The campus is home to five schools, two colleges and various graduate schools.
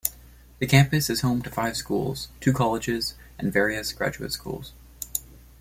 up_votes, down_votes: 2, 0